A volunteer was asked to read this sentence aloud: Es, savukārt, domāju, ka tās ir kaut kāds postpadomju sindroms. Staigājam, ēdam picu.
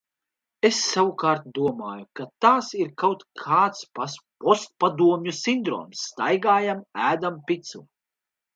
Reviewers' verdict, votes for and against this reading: rejected, 0, 2